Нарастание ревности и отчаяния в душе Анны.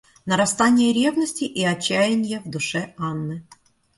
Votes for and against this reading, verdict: 2, 0, accepted